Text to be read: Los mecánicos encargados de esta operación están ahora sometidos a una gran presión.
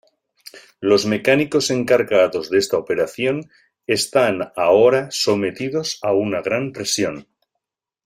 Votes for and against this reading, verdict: 2, 0, accepted